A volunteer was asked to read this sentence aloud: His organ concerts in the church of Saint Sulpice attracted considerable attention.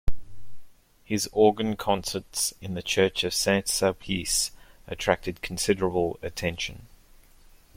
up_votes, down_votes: 2, 0